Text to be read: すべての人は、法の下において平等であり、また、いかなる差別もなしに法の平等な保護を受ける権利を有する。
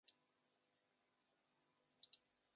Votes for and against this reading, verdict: 0, 2, rejected